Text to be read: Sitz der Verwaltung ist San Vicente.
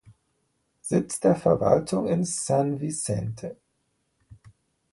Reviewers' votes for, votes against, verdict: 2, 1, accepted